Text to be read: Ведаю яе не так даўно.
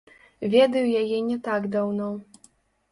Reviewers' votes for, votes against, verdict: 1, 2, rejected